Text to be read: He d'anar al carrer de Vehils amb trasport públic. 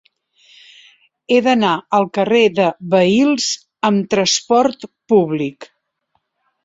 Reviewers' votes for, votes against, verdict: 2, 0, accepted